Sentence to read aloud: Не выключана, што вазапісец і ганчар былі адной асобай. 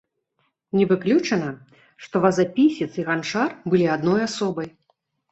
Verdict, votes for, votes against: accepted, 2, 1